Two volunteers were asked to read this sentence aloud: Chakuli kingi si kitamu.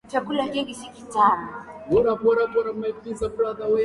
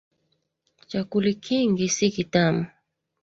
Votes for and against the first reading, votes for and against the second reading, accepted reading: 1, 2, 2, 0, second